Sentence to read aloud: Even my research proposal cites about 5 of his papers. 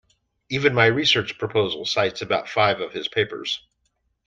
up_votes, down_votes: 0, 2